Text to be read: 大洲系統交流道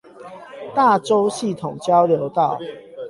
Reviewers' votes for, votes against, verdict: 4, 8, rejected